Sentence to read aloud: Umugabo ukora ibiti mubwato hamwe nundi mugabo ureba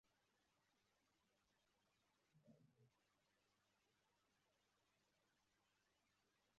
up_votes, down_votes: 0, 2